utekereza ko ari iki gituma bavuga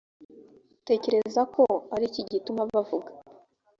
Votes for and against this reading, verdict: 2, 0, accepted